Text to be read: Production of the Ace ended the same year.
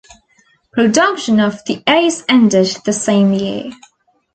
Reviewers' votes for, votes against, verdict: 2, 0, accepted